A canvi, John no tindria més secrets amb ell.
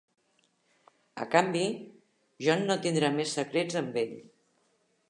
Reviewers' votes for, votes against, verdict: 0, 2, rejected